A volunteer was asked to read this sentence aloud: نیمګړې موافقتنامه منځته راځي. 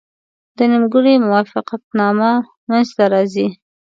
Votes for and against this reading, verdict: 1, 2, rejected